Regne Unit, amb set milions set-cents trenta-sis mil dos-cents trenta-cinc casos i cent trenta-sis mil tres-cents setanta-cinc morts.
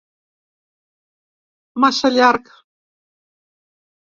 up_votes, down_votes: 0, 2